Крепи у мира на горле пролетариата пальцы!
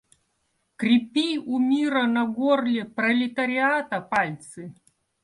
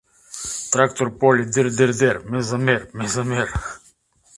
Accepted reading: first